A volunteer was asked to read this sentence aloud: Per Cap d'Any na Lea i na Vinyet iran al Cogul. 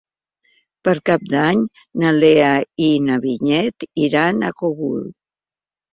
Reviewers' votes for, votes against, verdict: 0, 3, rejected